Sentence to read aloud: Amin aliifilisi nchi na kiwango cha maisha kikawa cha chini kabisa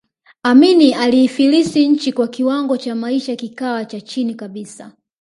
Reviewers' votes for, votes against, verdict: 0, 2, rejected